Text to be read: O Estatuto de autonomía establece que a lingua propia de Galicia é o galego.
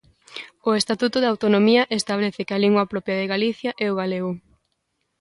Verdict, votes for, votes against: accepted, 2, 0